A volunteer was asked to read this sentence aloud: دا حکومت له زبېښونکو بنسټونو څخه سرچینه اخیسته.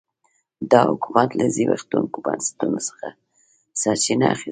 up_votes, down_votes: 2, 0